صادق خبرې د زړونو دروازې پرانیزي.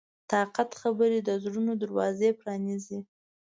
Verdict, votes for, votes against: rejected, 0, 2